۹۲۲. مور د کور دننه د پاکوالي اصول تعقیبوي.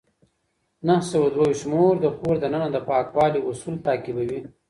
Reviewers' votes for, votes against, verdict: 0, 2, rejected